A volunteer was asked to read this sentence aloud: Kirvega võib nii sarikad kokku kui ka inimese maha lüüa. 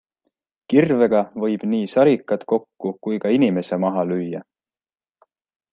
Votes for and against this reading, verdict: 2, 0, accepted